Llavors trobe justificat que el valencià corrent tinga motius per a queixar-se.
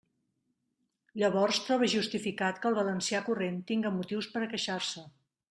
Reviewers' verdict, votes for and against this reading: rejected, 1, 2